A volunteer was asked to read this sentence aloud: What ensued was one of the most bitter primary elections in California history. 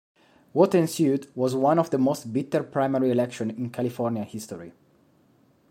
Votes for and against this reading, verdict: 1, 3, rejected